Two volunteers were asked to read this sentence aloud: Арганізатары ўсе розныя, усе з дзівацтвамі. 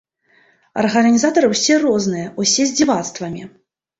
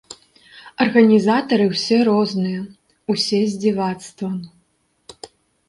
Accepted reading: first